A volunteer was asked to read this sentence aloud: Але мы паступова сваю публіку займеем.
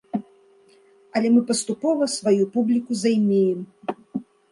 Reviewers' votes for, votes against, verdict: 2, 0, accepted